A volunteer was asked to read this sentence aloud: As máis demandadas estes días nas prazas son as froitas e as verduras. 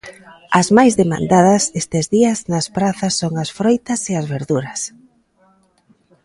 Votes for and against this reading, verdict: 2, 0, accepted